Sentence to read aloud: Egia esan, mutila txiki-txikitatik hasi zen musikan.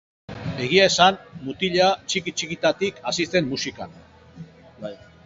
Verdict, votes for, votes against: rejected, 2, 2